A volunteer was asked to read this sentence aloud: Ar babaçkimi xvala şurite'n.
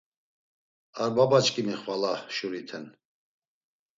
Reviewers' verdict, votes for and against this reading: accepted, 2, 0